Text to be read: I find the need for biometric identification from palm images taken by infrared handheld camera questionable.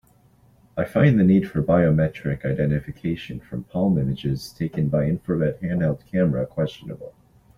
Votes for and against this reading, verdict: 2, 0, accepted